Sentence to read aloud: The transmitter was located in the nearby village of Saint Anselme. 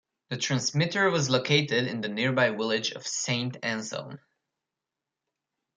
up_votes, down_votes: 2, 0